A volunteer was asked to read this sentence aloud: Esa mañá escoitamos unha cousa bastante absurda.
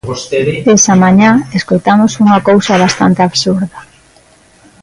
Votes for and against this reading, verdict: 1, 2, rejected